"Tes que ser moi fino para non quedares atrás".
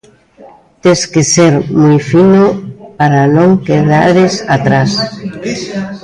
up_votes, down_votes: 2, 0